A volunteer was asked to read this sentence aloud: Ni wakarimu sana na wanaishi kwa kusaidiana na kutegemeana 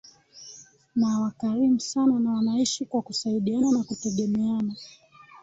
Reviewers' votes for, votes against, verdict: 1, 2, rejected